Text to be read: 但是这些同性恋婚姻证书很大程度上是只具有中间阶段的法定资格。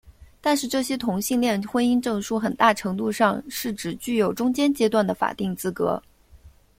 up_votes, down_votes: 2, 0